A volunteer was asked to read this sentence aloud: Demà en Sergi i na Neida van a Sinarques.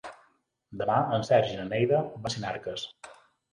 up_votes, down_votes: 0, 2